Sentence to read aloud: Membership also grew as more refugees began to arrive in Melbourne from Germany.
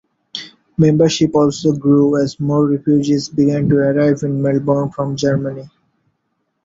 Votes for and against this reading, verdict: 2, 0, accepted